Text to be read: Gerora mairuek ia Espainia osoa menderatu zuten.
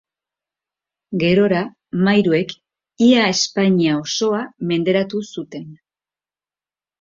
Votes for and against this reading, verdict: 5, 0, accepted